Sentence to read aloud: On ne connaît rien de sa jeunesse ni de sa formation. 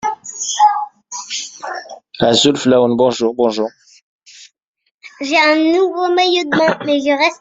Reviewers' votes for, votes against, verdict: 0, 2, rejected